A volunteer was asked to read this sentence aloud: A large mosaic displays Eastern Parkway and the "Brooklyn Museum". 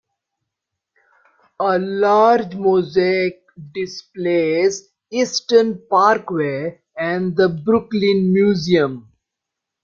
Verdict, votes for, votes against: accepted, 2, 0